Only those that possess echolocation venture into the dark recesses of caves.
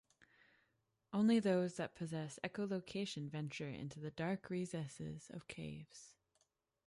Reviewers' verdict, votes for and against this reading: accepted, 2, 0